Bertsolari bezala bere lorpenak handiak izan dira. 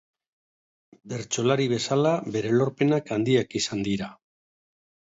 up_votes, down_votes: 2, 0